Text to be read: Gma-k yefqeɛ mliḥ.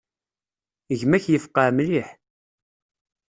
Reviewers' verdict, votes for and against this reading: accepted, 2, 0